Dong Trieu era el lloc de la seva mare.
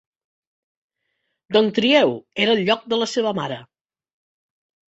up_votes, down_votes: 2, 0